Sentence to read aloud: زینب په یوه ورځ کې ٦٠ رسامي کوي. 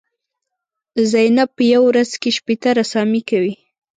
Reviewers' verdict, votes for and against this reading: rejected, 0, 2